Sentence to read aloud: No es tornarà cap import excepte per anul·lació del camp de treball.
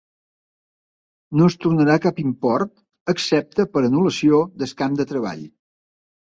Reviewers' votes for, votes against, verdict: 0, 2, rejected